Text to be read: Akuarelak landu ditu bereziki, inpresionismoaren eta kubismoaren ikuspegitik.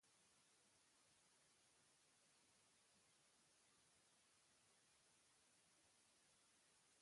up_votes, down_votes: 0, 2